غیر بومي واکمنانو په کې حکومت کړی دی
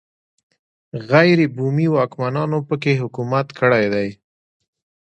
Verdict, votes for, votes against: rejected, 1, 2